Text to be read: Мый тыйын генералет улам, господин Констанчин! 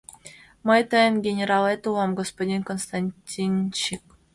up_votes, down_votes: 0, 2